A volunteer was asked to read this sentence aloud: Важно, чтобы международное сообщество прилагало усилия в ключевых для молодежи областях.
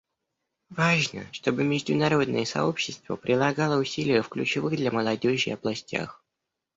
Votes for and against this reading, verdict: 1, 2, rejected